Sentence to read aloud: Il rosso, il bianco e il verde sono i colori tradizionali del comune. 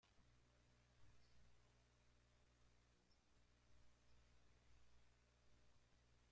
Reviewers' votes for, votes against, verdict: 0, 2, rejected